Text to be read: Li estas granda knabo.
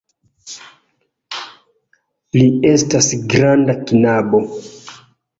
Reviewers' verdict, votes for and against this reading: rejected, 1, 2